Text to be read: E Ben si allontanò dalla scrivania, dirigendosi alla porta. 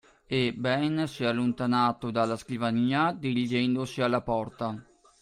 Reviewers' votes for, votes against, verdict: 2, 0, accepted